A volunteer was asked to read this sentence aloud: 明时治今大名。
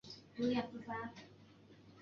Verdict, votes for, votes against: rejected, 0, 3